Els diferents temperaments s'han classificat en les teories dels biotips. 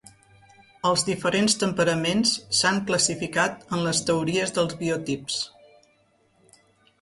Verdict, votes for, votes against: accepted, 3, 0